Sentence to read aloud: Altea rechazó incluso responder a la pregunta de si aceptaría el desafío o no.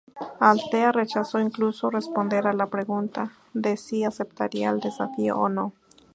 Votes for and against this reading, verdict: 0, 2, rejected